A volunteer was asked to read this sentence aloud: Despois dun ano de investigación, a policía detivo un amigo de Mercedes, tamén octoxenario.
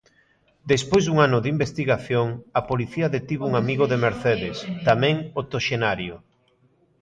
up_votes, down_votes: 1, 2